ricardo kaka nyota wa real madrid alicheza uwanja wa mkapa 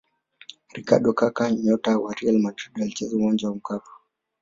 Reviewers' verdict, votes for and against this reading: accepted, 2, 0